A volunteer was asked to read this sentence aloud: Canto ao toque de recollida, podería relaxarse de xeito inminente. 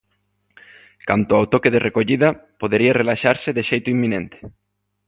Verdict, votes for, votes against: accepted, 2, 0